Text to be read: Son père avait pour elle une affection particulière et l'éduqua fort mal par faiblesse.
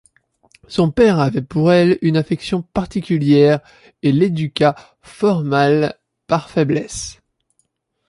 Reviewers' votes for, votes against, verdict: 2, 0, accepted